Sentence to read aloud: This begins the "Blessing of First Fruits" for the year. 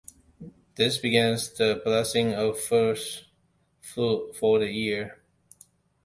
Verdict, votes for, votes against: rejected, 1, 2